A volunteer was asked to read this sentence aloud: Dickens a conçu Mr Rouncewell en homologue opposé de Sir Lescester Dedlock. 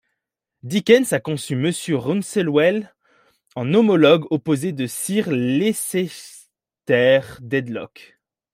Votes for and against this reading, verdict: 1, 2, rejected